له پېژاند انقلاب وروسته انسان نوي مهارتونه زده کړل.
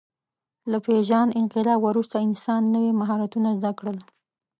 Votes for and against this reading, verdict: 4, 0, accepted